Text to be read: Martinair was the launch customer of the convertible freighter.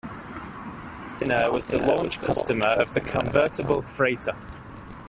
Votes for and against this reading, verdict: 0, 2, rejected